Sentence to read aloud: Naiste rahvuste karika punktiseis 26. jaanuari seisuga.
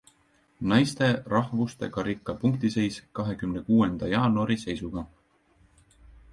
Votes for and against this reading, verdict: 0, 2, rejected